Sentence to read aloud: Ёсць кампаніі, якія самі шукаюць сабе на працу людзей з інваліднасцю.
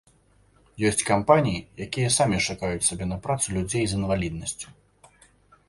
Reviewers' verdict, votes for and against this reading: accepted, 2, 0